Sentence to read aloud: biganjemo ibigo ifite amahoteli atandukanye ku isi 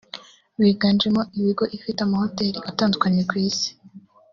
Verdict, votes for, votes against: rejected, 1, 2